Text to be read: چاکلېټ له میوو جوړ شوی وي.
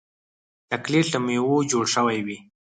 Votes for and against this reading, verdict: 2, 4, rejected